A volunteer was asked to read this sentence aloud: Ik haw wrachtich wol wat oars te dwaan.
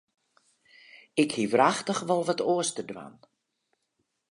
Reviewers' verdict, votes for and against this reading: rejected, 0, 2